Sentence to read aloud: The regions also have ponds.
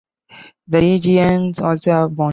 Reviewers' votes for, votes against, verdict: 0, 2, rejected